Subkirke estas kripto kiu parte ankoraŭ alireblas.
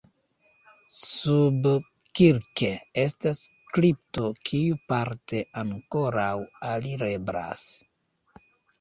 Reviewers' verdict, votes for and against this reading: accepted, 2, 0